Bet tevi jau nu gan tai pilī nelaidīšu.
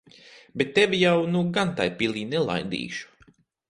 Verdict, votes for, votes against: accepted, 4, 0